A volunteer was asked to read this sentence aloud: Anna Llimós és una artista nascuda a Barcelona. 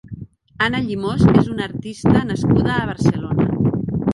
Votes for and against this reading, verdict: 1, 2, rejected